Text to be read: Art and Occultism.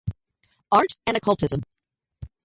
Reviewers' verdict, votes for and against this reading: rejected, 0, 2